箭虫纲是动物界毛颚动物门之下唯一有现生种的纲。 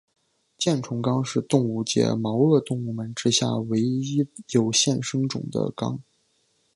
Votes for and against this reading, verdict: 2, 0, accepted